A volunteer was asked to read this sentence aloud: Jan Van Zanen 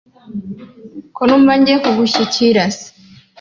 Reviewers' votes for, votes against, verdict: 0, 2, rejected